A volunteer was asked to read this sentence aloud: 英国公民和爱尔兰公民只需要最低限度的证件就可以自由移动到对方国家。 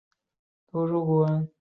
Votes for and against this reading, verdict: 0, 3, rejected